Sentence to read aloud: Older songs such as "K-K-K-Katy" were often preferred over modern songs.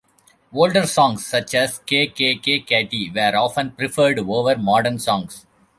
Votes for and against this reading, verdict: 2, 0, accepted